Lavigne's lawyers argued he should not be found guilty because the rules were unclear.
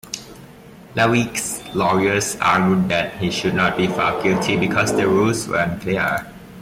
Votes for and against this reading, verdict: 0, 2, rejected